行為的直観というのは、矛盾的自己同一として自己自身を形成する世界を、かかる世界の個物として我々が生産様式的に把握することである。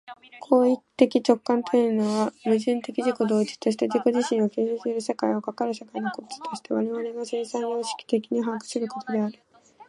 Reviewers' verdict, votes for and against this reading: rejected, 0, 2